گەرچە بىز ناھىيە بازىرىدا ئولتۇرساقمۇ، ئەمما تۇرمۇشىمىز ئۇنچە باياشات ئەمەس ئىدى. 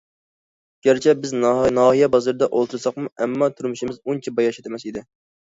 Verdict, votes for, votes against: rejected, 0, 2